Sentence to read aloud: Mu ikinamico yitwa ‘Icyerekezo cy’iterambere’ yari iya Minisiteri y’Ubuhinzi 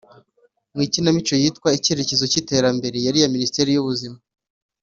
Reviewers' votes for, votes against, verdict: 1, 2, rejected